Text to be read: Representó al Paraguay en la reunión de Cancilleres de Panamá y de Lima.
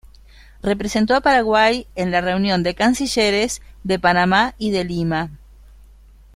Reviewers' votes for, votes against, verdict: 0, 2, rejected